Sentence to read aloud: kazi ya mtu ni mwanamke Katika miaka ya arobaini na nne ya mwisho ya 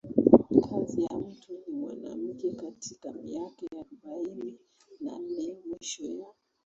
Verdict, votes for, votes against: rejected, 1, 3